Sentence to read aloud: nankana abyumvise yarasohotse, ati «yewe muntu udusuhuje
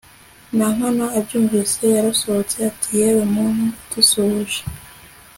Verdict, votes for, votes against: accepted, 2, 0